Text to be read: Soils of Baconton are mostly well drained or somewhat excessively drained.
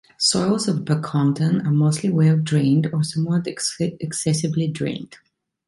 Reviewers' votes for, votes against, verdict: 1, 2, rejected